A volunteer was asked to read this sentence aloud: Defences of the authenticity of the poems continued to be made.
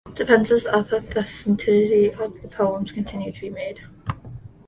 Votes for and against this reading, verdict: 0, 2, rejected